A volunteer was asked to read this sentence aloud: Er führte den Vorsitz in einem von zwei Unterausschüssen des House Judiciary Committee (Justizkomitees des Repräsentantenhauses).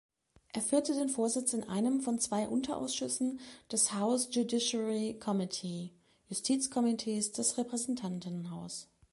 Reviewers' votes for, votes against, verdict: 0, 3, rejected